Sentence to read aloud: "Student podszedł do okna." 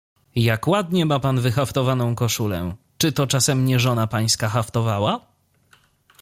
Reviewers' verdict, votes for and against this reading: rejected, 0, 2